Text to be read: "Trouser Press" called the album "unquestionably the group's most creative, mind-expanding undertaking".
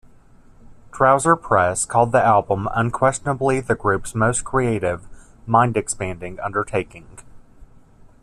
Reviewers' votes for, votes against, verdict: 2, 0, accepted